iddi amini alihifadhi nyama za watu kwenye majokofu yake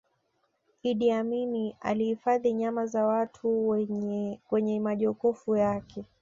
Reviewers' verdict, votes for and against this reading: rejected, 1, 3